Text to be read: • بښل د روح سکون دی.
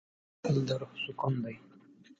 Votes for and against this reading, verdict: 5, 3, accepted